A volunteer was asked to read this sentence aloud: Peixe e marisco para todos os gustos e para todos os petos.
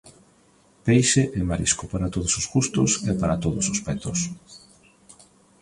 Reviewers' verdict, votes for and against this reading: accepted, 2, 0